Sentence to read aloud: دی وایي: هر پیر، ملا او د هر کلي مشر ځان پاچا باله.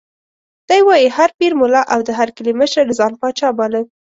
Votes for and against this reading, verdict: 2, 0, accepted